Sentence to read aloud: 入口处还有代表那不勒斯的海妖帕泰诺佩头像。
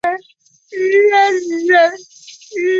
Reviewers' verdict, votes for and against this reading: rejected, 0, 4